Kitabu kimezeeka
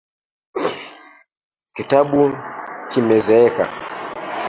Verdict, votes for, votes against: rejected, 0, 2